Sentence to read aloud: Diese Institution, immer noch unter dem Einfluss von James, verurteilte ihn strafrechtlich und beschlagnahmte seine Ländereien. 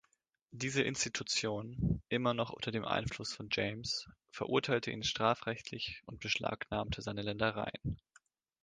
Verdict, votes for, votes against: accepted, 2, 0